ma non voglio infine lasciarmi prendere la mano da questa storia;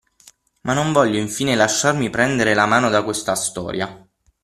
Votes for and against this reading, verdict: 6, 0, accepted